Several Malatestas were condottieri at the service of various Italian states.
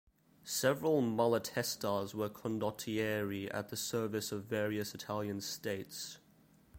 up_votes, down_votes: 1, 2